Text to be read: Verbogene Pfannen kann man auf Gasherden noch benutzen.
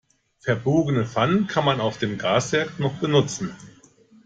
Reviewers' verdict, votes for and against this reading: rejected, 1, 2